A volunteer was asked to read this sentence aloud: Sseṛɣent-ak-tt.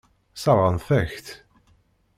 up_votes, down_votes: 1, 2